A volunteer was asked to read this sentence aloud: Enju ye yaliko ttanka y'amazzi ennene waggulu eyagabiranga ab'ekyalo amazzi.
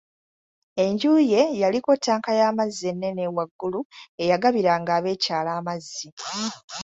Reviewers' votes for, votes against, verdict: 4, 0, accepted